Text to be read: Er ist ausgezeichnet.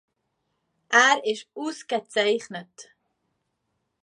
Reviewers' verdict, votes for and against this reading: accepted, 2, 1